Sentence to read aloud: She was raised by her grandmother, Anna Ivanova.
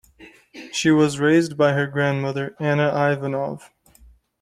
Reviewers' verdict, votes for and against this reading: rejected, 1, 2